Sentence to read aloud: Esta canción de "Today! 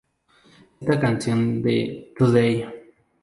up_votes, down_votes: 2, 0